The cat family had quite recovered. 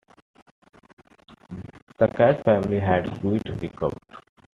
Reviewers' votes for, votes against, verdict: 1, 2, rejected